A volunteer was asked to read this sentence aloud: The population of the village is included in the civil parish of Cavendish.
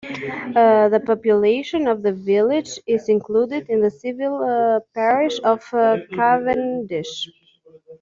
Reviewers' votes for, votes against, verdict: 2, 1, accepted